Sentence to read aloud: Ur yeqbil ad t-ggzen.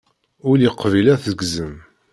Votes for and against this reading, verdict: 0, 2, rejected